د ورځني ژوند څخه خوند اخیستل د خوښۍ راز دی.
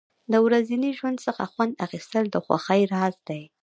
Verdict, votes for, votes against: accepted, 2, 0